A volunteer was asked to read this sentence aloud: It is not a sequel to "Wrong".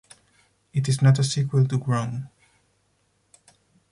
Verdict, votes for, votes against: accepted, 4, 0